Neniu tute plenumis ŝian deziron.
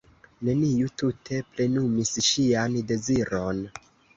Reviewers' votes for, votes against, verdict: 1, 2, rejected